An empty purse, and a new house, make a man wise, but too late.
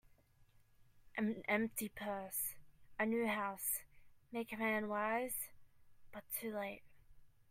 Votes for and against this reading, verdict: 1, 2, rejected